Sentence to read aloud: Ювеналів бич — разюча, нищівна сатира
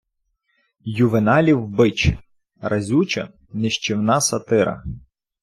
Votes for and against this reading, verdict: 1, 2, rejected